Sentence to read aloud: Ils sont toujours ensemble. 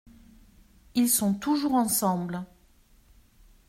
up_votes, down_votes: 2, 0